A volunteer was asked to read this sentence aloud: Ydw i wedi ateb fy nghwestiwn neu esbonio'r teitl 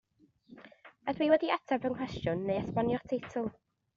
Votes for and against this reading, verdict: 1, 2, rejected